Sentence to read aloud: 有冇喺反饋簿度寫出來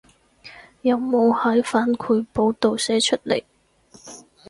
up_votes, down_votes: 2, 4